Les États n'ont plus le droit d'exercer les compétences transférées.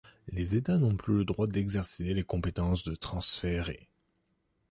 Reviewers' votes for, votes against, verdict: 0, 3, rejected